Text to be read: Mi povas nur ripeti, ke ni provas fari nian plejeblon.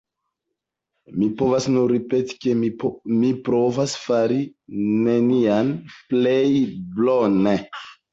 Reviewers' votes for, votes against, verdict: 1, 2, rejected